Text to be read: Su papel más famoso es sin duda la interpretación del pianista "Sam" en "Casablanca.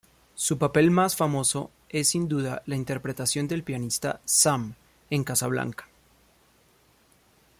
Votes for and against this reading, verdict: 2, 0, accepted